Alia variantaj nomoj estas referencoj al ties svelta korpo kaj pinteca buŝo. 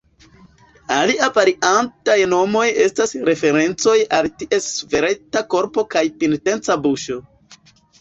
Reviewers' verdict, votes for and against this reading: accepted, 2, 1